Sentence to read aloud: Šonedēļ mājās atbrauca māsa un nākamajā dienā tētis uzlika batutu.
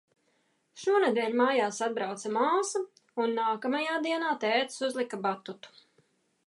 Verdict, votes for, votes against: accepted, 2, 1